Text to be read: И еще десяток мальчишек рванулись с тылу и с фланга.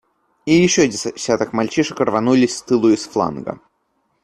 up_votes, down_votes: 2, 0